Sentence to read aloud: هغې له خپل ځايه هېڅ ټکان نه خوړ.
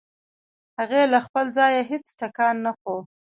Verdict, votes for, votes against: rejected, 1, 2